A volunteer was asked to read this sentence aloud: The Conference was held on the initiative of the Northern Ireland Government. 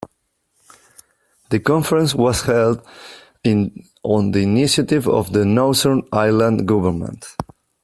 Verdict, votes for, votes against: accepted, 2, 1